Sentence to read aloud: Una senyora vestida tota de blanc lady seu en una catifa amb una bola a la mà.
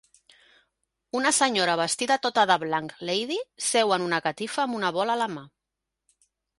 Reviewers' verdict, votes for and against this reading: accepted, 3, 0